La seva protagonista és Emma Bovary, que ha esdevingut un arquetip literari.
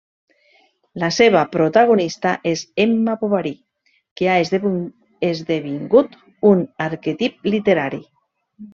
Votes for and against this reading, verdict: 0, 2, rejected